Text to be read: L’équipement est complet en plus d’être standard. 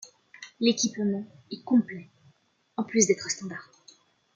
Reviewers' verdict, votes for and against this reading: rejected, 1, 2